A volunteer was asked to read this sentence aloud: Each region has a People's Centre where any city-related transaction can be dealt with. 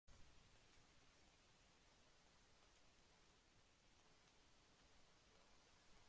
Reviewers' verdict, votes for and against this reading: rejected, 0, 2